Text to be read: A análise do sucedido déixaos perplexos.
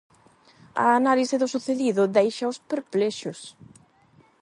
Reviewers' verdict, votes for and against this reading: accepted, 8, 0